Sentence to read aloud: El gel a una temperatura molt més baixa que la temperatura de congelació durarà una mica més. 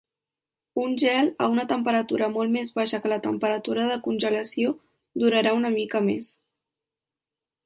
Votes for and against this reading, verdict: 0, 4, rejected